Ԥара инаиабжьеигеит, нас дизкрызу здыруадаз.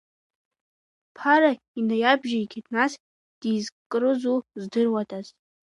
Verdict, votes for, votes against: accepted, 2, 1